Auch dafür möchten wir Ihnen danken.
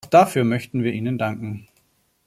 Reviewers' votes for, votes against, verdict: 1, 2, rejected